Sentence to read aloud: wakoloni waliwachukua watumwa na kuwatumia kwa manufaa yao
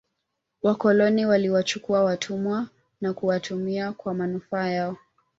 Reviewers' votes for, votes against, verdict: 2, 1, accepted